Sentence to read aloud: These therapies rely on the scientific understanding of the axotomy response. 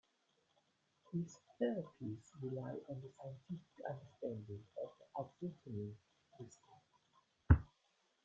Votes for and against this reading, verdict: 0, 2, rejected